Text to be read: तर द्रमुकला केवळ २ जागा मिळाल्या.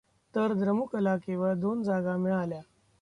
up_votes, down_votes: 0, 2